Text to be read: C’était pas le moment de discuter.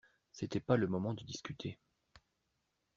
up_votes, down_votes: 2, 0